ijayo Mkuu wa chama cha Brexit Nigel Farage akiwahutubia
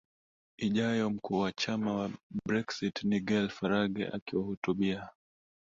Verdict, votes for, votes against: rejected, 1, 2